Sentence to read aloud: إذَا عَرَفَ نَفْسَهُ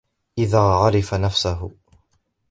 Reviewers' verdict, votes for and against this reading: rejected, 0, 2